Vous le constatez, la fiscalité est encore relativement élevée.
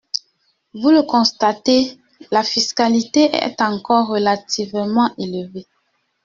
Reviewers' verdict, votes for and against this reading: accepted, 2, 0